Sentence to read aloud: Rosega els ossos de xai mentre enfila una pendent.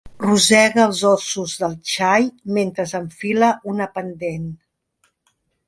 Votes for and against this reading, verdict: 0, 2, rejected